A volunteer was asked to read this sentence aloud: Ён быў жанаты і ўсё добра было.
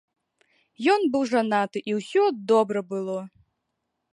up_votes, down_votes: 4, 0